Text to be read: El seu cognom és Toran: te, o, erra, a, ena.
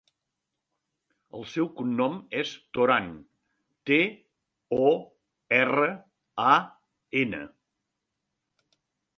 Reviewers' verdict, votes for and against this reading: accepted, 3, 0